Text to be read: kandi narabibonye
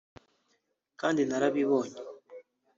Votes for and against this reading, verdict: 0, 2, rejected